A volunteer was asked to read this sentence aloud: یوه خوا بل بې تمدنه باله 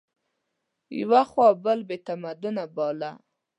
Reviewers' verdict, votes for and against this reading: rejected, 1, 2